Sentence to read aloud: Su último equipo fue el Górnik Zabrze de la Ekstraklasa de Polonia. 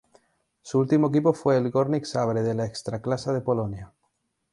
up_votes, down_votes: 2, 0